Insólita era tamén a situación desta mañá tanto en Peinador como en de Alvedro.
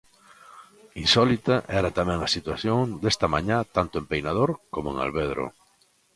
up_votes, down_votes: 0, 2